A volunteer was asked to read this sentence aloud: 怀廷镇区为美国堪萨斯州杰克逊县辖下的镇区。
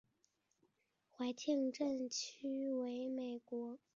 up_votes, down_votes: 3, 6